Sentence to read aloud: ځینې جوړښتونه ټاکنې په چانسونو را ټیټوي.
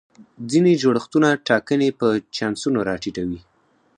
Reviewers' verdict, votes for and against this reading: rejected, 2, 4